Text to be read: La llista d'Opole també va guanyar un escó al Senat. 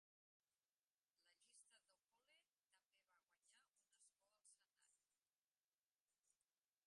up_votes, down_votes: 0, 2